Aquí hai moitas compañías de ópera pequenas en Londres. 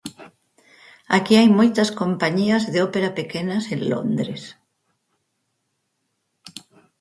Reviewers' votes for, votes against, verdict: 4, 0, accepted